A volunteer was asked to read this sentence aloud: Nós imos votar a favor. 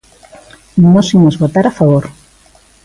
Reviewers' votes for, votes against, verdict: 2, 0, accepted